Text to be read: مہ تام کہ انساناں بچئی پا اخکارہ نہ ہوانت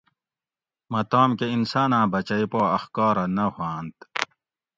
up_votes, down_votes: 2, 0